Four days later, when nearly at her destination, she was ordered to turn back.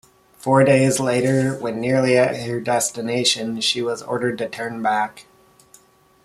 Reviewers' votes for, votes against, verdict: 2, 0, accepted